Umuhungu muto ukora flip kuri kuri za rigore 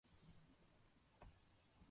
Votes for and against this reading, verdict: 0, 2, rejected